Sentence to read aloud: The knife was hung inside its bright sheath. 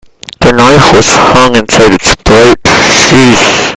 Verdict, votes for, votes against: rejected, 1, 2